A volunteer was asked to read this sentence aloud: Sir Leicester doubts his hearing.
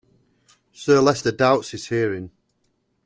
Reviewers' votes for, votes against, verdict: 1, 2, rejected